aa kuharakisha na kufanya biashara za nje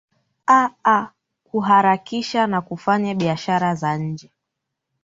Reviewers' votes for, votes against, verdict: 3, 0, accepted